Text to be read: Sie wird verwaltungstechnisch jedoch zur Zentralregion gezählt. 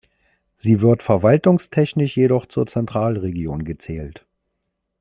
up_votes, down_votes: 2, 0